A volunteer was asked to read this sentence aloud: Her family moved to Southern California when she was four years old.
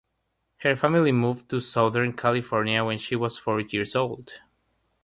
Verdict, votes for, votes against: rejected, 3, 3